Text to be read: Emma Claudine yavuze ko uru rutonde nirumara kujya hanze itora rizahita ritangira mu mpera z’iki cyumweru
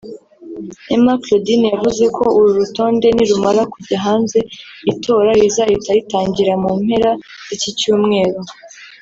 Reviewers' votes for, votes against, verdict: 0, 2, rejected